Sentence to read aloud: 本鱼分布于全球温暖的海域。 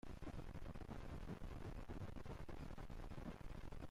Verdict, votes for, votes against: rejected, 0, 2